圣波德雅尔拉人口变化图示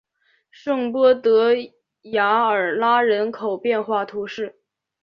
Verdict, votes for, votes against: accepted, 2, 0